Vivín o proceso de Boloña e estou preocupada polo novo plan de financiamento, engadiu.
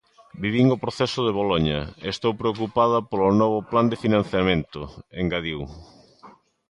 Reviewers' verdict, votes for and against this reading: accepted, 2, 0